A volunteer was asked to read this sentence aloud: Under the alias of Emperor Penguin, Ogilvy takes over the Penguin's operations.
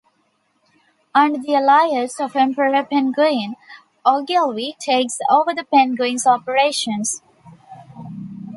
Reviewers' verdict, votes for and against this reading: rejected, 1, 2